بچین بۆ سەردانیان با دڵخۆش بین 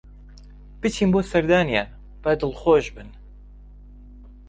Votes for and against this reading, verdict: 1, 2, rejected